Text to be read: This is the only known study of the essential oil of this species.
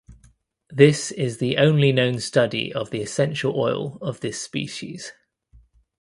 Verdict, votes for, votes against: accepted, 2, 0